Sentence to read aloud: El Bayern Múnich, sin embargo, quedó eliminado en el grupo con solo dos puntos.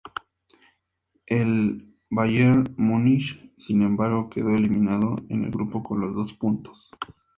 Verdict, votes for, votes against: rejected, 0, 2